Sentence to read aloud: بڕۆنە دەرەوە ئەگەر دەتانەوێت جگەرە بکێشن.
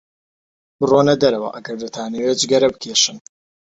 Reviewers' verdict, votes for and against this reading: accepted, 2, 0